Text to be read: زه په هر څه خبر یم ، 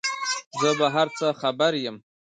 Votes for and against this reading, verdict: 2, 0, accepted